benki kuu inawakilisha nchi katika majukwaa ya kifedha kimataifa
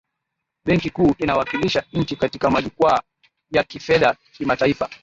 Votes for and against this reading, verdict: 1, 2, rejected